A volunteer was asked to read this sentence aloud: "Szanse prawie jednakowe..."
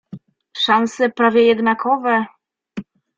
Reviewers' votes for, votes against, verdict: 2, 0, accepted